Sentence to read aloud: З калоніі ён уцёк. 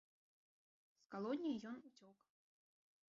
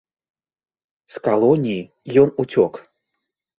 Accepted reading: second